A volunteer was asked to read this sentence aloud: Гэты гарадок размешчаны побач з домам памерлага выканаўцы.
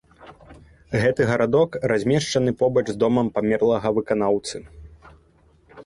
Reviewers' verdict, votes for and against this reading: accepted, 2, 0